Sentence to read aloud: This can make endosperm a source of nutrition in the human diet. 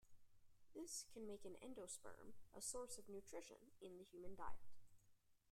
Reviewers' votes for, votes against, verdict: 0, 2, rejected